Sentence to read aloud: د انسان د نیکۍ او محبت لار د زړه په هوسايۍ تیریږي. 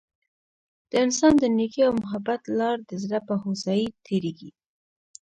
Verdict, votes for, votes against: accepted, 2, 1